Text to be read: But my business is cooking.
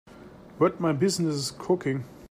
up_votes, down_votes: 2, 1